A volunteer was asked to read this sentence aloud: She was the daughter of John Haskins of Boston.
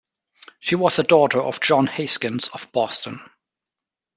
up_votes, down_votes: 2, 1